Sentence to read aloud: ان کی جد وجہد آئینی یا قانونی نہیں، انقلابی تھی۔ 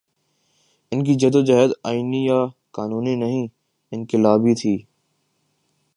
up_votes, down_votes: 1, 2